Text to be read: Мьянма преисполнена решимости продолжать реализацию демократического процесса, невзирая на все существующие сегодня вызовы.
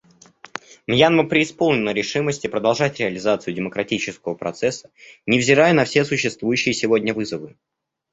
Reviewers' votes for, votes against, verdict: 0, 2, rejected